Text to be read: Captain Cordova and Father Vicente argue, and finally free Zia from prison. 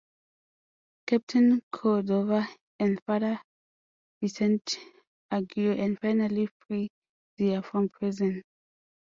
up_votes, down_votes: 1, 2